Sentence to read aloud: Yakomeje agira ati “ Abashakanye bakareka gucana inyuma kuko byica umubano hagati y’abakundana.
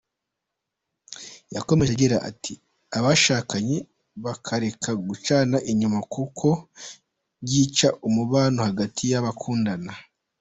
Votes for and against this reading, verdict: 2, 0, accepted